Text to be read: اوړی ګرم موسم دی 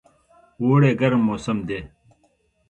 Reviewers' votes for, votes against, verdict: 2, 1, accepted